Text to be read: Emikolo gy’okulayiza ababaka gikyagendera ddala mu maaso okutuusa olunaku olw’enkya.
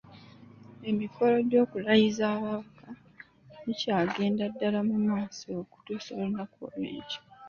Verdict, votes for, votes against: accepted, 2, 0